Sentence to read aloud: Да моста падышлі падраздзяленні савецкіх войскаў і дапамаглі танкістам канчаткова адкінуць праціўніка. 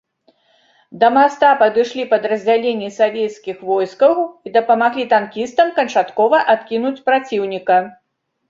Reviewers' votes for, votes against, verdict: 1, 2, rejected